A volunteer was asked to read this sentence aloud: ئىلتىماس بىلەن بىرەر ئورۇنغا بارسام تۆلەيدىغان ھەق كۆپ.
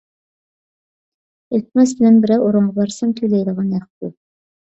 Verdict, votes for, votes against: rejected, 0, 2